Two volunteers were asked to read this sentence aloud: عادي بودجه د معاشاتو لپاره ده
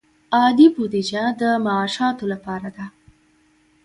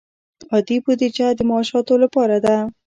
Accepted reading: first